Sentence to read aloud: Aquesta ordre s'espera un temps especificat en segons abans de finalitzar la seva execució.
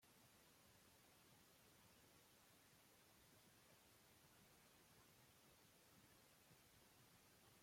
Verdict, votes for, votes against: rejected, 0, 2